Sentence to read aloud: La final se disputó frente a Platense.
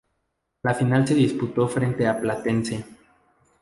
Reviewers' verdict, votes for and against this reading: accepted, 2, 0